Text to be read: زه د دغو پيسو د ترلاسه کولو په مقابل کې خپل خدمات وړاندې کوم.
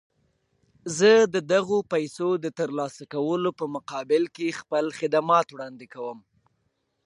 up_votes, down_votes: 2, 1